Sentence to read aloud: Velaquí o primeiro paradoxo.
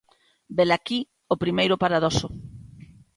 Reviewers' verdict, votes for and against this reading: accepted, 2, 0